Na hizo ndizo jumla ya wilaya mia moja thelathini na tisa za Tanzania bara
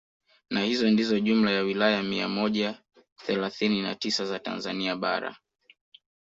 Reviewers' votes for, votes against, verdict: 3, 1, accepted